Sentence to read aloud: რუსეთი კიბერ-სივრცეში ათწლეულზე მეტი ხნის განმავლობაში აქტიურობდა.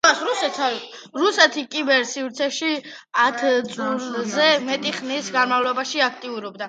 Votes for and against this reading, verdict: 2, 1, accepted